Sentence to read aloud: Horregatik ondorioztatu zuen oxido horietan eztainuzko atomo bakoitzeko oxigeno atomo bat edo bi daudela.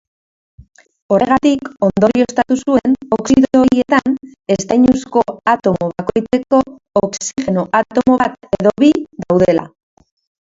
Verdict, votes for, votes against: rejected, 0, 2